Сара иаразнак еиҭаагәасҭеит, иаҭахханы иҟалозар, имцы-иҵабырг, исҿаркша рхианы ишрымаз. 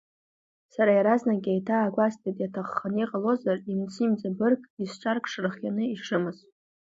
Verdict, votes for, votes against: accepted, 2, 0